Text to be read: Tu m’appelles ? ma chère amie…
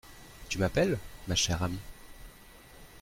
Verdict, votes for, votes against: accepted, 2, 0